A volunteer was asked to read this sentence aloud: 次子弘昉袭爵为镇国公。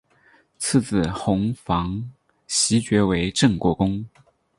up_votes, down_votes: 6, 0